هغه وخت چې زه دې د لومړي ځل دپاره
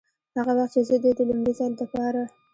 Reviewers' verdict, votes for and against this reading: accepted, 2, 0